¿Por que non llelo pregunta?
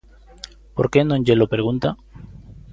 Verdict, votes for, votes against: accepted, 2, 0